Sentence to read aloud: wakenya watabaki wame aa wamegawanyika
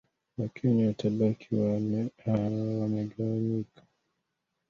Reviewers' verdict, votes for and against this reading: rejected, 1, 2